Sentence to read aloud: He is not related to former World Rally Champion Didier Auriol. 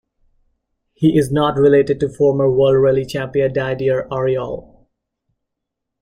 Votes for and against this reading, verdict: 2, 1, accepted